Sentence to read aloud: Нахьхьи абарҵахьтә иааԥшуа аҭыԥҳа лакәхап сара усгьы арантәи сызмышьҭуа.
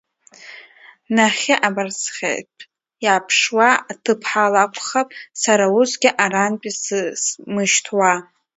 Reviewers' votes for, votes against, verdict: 0, 2, rejected